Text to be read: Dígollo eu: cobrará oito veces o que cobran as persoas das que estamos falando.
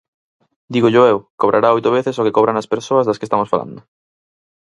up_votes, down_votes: 4, 0